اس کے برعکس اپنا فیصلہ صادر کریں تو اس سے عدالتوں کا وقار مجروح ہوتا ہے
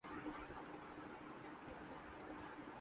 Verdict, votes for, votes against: rejected, 0, 2